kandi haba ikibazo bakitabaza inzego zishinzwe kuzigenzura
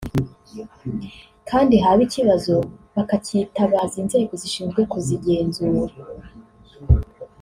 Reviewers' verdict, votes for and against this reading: accepted, 2, 0